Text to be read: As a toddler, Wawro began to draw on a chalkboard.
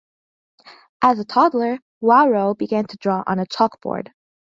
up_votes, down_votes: 2, 0